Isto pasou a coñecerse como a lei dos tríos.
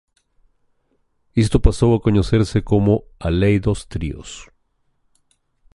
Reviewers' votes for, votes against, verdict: 2, 0, accepted